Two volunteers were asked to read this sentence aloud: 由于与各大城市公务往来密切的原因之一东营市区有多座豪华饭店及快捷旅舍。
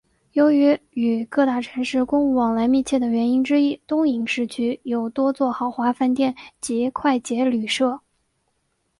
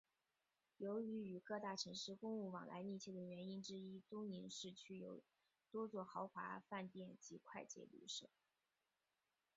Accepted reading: first